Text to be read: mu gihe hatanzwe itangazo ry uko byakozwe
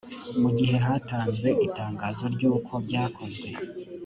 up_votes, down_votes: 2, 0